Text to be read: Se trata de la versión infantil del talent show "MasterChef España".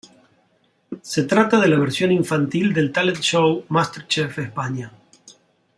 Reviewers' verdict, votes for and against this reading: accepted, 2, 0